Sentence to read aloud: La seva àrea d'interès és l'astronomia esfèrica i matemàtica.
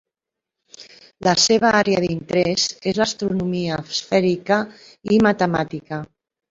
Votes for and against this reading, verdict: 3, 1, accepted